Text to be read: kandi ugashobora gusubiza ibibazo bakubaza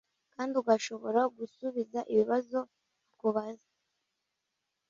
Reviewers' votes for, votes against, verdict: 0, 2, rejected